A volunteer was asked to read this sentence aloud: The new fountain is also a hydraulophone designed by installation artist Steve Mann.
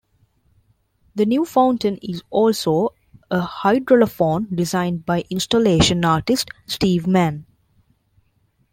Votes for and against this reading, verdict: 2, 0, accepted